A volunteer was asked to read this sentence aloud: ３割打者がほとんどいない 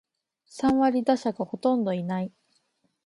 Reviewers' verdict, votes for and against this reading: rejected, 0, 2